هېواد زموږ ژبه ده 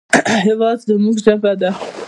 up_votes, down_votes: 1, 2